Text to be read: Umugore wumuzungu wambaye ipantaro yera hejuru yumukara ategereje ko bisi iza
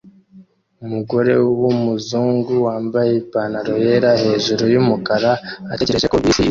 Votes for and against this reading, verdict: 1, 2, rejected